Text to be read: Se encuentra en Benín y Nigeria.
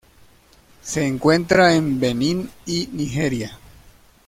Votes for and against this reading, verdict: 2, 0, accepted